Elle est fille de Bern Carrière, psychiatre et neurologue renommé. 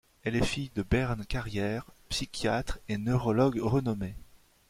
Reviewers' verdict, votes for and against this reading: accepted, 2, 0